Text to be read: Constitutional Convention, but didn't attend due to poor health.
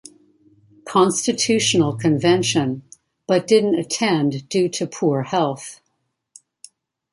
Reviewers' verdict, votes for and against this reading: accepted, 2, 0